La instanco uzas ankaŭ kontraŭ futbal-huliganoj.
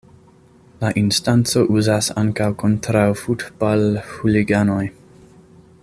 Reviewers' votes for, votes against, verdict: 2, 0, accepted